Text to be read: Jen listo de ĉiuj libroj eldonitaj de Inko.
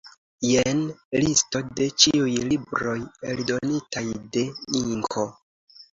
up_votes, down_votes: 2, 0